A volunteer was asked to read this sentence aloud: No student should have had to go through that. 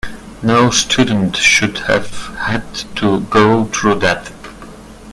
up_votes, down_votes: 2, 0